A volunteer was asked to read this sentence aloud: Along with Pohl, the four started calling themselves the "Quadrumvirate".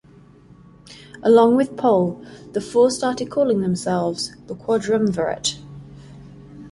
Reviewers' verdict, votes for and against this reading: accepted, 4, 0